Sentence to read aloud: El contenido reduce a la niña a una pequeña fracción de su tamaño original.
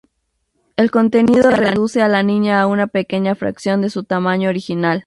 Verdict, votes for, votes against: rejected, 0, 2